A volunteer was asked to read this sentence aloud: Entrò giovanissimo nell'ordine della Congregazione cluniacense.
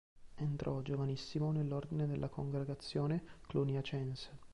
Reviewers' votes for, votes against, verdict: 1, 2, rejected